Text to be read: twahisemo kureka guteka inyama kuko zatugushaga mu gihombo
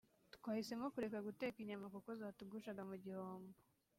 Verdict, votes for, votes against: accepted, 2, 0